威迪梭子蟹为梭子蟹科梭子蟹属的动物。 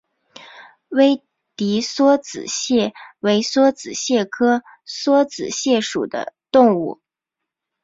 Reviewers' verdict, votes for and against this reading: accepted, 3, 0